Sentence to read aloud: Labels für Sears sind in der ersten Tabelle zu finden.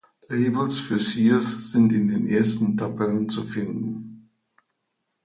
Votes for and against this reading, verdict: 1, 2, rejected